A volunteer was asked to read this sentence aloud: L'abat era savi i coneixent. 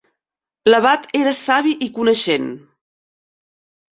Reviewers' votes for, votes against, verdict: 3, 0, accepted